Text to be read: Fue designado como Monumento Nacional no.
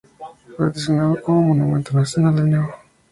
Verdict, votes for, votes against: accepted, 2, 0